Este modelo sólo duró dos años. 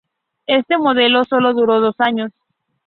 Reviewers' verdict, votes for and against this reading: accepted, 2, 0